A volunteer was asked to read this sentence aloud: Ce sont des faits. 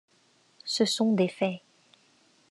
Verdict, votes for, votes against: accepted, 2, 0